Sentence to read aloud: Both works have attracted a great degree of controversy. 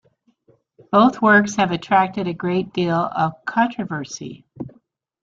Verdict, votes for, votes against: rejected, 0, 2